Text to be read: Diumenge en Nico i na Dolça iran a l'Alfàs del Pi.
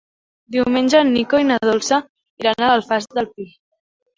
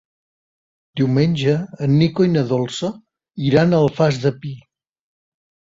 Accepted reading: first